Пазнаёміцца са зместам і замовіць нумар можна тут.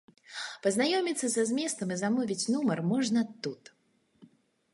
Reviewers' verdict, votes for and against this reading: accepted, 2, 0